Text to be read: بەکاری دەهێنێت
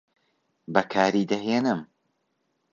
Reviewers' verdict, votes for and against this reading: rejected, 1, 2